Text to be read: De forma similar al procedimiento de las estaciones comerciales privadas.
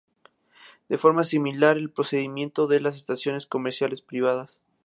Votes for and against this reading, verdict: 2, 0, accepted